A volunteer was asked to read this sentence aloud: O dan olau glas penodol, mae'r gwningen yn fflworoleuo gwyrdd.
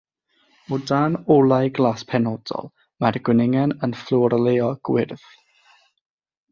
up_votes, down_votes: 3, 6